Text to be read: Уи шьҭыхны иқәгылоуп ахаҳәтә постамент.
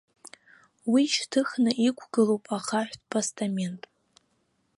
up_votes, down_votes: 2, 0